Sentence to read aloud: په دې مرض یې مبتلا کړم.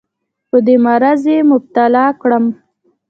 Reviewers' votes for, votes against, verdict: 2, 0, accepted